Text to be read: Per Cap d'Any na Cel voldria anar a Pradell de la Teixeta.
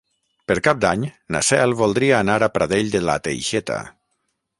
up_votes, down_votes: 0, 3